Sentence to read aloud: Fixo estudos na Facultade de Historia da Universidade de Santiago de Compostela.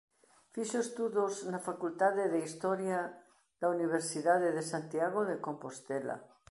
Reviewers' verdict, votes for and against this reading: accepted, 2, 0